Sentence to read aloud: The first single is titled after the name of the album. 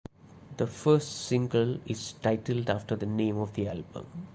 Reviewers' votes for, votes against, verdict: 2, 0, accepted